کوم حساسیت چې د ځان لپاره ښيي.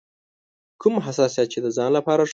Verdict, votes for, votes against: rejected, 0, 2